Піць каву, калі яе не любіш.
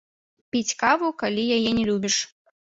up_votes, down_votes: 1, 2